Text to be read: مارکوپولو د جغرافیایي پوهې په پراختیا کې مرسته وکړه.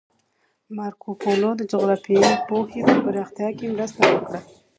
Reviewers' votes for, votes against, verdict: 2, 0, accepted